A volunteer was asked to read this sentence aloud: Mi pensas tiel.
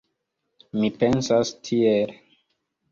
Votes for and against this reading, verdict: 2, 1, accepted